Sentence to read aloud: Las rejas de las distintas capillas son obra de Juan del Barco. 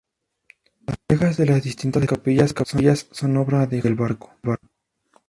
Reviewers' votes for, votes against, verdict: 0, 4, rejected